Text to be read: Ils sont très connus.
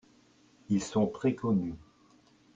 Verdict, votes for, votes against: accepted, 2, 1